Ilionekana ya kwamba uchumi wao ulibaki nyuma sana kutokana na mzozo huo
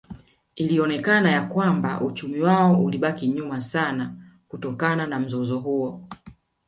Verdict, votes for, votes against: accepted, 2, 0